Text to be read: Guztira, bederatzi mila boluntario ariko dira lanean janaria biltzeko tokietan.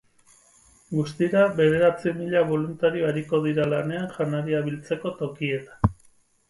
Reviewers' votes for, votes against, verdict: 4, 0, accepted